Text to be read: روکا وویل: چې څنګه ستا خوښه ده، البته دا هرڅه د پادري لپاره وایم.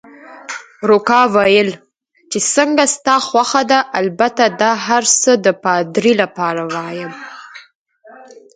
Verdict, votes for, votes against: accepted, 4, 0